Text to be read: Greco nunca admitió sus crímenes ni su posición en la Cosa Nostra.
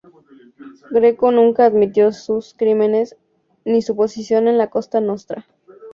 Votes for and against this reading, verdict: 0, 4, rejected